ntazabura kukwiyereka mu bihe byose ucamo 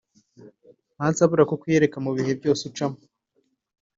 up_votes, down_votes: 4, 0